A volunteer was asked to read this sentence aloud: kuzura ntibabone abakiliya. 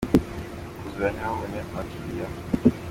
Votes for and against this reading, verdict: 2, 0, accepted